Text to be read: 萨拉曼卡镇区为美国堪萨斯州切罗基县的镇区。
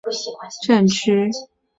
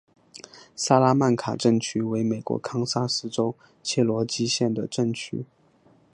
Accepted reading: second